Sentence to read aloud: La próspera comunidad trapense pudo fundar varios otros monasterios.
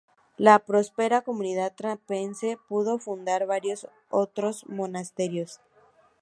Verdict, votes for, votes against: rejected, 0, 2